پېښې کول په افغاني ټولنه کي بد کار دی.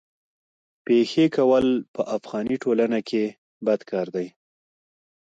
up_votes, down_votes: 2, 0